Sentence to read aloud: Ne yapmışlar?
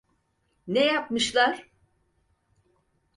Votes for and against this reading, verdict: 4, 0, accepted